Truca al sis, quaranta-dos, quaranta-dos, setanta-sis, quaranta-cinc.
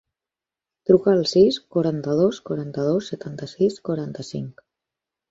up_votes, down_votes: 0, 4